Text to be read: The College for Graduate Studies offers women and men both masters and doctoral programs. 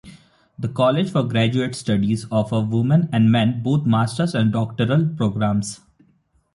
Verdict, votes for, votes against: rejected, 2, 3